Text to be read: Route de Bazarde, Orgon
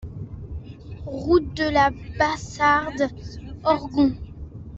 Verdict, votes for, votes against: rejected, 0, 2